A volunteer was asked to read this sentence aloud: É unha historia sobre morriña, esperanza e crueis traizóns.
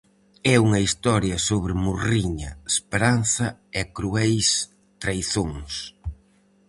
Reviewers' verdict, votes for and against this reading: accepted, 4, 0